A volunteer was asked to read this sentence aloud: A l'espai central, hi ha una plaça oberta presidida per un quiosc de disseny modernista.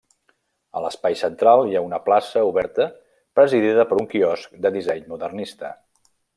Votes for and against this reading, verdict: 0, 2, rejected